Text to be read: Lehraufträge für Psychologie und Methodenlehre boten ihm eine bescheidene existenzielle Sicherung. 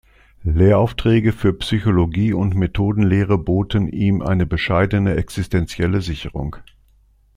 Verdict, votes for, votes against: accepted, 2, 0